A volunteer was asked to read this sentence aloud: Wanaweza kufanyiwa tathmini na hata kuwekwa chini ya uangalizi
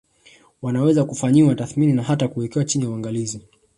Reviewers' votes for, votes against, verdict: 1, 2, rejected